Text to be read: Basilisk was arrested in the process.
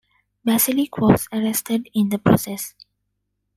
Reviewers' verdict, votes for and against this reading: rejected, 0, 2